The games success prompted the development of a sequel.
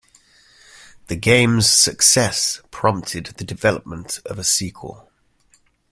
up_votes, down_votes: 2, 0